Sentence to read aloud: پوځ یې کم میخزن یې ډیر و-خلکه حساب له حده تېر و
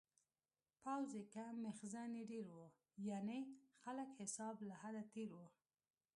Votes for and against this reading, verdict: 1, 2, rejected